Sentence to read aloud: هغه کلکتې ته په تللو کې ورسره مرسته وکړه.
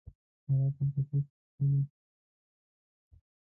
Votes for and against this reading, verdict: 1, 2, rejected